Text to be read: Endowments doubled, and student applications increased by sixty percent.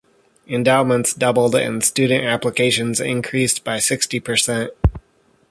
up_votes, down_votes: 2, 0